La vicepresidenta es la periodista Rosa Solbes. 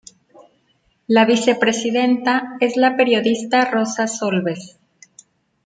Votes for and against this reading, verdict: 2, 0, accepted